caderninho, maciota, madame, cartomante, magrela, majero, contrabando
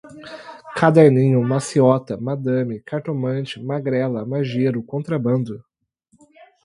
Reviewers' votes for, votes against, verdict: 4, 0, accepted